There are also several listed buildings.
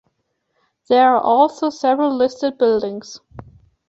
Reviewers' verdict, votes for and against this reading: accepted, 2, 0